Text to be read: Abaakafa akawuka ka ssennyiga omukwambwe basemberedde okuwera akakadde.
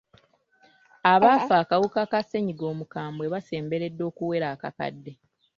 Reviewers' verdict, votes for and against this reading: rejected, 1, 2